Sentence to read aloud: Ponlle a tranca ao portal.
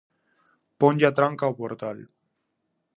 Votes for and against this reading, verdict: 4, 0, accepted